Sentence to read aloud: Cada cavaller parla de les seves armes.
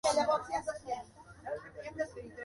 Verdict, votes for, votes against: rejected, 0, 2